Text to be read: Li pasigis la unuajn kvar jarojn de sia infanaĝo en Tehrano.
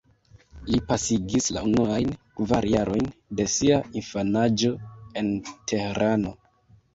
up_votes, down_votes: 2, 1